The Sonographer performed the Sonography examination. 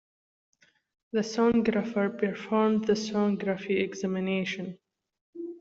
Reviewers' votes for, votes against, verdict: 2, 0, accepted